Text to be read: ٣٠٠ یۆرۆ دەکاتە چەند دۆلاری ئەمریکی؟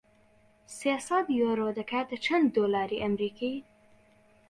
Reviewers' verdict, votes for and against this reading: rejected, 0, 2